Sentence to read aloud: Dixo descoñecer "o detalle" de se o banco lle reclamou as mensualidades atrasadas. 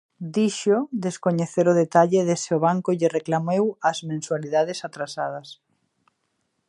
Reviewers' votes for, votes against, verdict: 0, 2, rejected